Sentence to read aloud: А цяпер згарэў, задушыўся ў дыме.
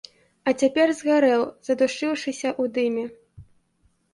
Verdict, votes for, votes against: rejected, 0, 2